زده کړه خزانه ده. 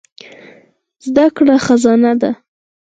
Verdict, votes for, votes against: rejected, 2, 4